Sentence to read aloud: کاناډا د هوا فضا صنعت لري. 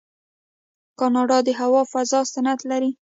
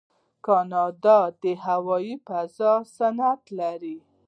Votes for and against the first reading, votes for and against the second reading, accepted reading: 2, 0, 0, 2, first